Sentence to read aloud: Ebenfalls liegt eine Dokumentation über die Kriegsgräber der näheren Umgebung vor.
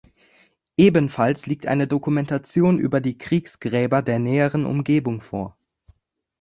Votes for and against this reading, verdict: 3, 0, accepted